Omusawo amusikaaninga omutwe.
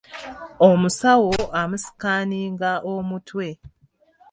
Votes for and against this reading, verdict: 3, 0, accepted